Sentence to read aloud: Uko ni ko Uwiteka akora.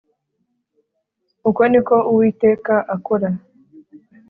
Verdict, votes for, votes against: accepted, 4, 0